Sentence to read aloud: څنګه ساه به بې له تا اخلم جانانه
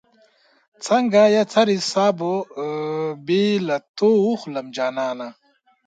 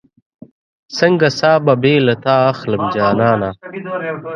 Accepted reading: first